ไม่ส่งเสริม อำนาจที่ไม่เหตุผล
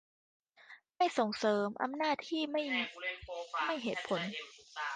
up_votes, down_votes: 1, 2